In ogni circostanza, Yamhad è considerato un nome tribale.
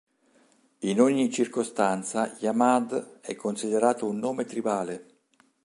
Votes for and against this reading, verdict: 2, 0, accepted